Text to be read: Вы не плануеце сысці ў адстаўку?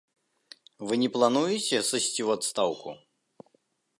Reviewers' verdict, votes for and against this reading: accepted, 2, 0